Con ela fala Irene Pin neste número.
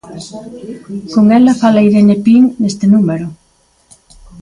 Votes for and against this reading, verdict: 2, 0, accepted